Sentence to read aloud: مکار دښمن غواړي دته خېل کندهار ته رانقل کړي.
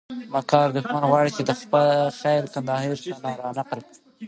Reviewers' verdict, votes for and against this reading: rejected, 0, 2